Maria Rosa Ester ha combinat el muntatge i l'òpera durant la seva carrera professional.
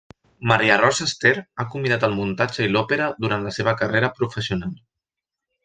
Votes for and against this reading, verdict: 2, 0, accepted